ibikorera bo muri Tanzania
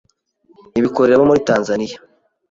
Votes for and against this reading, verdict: 1, 2, rejected